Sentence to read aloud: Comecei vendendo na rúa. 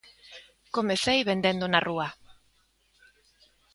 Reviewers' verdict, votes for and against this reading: accepted, 2, 0